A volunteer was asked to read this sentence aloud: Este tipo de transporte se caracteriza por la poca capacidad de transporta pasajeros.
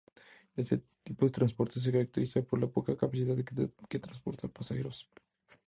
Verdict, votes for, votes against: rejected, 0, 2